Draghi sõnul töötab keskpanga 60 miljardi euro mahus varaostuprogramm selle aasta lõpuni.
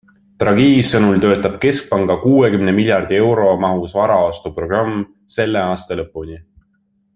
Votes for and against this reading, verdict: 0, 2, rejected